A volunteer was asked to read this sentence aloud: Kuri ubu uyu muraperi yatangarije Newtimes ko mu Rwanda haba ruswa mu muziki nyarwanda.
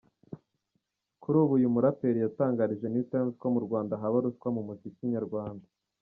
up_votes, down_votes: 2, 0